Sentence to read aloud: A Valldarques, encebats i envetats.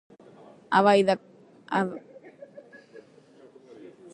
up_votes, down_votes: 0, 2